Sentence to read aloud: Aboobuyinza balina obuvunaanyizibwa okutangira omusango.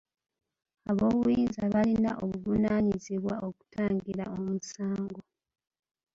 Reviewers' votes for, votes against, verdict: 2, 0, accepted